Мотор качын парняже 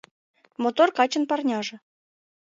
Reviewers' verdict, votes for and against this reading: accepted, 2, 0